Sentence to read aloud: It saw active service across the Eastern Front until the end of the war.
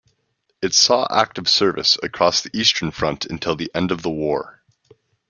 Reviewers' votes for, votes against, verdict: 2, 0, accepted